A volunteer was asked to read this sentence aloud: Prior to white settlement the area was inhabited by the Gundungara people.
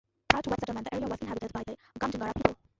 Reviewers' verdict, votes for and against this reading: rejected, 0, 2